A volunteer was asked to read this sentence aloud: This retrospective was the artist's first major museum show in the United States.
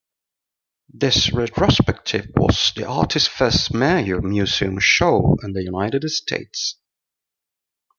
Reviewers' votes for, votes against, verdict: 3, 0, accepted